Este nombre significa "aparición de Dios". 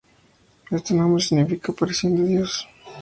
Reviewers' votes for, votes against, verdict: 0, 2, rejected